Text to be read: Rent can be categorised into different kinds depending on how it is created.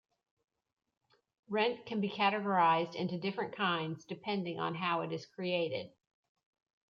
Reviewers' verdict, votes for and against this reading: accepted, 2, 0